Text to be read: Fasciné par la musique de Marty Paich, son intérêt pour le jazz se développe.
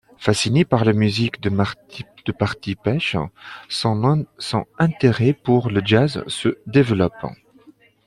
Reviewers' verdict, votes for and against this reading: rejected, 0, 2